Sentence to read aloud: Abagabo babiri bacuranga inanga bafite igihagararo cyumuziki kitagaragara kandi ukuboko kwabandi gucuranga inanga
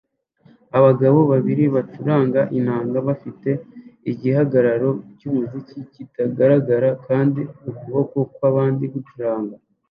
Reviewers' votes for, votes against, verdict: 0, 2, rejected